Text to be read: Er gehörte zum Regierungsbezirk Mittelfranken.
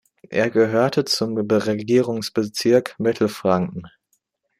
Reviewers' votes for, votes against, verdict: 2, 0, accepted